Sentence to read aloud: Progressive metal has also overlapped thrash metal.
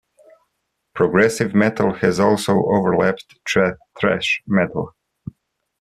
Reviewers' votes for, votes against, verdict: 1, 2, rejected